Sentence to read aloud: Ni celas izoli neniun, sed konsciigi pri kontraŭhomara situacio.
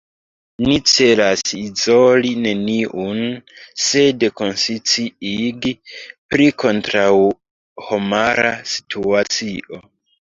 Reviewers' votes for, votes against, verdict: 0, 2, rejected